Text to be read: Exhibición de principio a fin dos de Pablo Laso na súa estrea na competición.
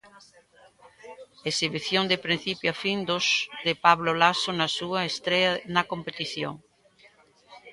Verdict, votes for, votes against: rejected, 1, 2